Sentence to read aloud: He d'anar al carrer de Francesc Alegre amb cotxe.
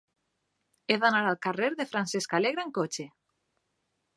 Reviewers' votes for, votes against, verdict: 2, 0, accepted